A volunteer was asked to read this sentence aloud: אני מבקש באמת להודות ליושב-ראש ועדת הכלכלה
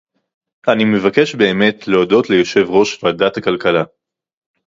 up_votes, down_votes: 4, 0